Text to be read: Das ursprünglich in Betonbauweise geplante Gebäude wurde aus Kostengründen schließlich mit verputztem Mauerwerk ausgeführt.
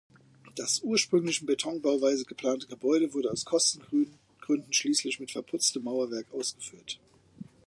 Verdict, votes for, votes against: accepted, 2, 1